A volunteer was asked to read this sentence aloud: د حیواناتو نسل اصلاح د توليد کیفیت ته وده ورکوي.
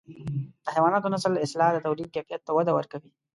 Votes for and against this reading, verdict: 2, 0, accepted